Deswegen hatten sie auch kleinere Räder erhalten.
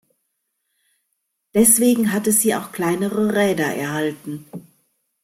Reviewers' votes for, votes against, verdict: 1, 2, rejected